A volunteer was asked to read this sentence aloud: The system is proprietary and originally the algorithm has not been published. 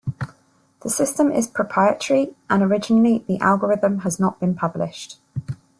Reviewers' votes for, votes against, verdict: 2, 0, accepted